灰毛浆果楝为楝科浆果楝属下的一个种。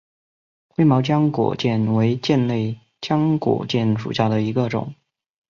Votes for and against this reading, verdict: 2, 0, accepted